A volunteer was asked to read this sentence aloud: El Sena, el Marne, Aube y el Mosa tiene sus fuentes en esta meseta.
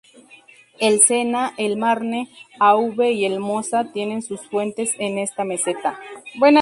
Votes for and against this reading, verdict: 0, 2, rejected